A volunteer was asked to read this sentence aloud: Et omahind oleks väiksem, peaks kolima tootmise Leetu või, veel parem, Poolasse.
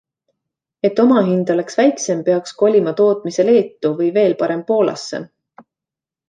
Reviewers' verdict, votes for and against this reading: accepted, 2, 0